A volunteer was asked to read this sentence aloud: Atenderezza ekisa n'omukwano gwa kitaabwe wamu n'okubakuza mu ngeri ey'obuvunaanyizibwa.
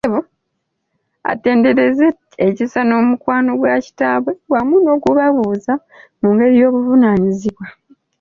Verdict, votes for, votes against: rejected, 0, 2